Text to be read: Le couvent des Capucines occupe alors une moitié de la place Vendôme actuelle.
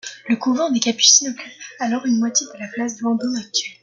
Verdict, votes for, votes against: accepted, 2, 1